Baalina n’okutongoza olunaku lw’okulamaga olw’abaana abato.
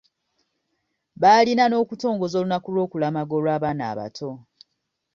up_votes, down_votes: 2, 0